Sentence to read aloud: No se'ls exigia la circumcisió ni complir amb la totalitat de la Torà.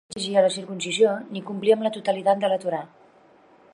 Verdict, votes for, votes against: rejected, 0, 3